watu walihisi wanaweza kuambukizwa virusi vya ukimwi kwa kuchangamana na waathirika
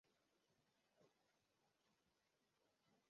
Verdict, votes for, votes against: rejected, 0, 2